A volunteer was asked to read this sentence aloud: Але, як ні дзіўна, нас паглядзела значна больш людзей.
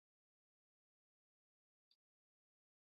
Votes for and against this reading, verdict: 0, 2, rejected